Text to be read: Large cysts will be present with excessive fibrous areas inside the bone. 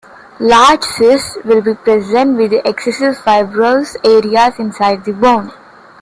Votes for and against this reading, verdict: 2, 0, accepted